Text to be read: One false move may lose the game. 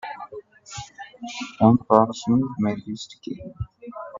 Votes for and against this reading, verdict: 0, 2, rejected